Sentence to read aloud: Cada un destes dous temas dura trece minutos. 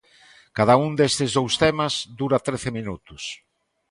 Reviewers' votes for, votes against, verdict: 2, 0, accepted